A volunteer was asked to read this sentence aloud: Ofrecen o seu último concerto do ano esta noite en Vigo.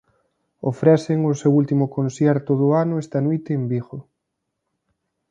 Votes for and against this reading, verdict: 1, 2, rejected